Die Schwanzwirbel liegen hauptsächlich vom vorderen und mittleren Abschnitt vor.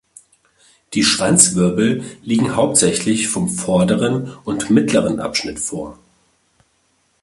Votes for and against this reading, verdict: 2, 0, accepted